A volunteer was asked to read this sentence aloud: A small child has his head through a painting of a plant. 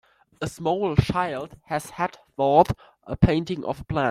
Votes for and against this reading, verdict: 2, 9, rejected